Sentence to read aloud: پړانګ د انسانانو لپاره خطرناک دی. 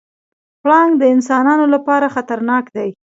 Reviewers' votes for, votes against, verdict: 1, 2, rejected